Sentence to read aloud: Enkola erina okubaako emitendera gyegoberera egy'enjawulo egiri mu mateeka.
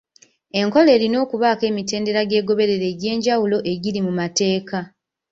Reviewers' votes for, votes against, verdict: 2, 0, accepted